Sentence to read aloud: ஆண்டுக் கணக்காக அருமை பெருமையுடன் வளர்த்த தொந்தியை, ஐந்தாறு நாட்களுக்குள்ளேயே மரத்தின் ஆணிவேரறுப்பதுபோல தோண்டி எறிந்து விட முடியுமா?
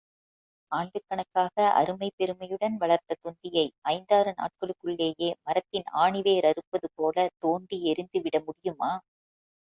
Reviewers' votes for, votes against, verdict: 2, 0, accepted